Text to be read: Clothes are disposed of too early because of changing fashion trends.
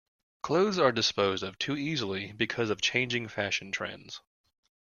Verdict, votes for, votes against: rejected, 0, 2